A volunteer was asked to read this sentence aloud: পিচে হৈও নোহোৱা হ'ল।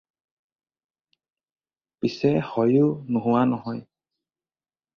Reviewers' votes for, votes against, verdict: 0, 4, rejected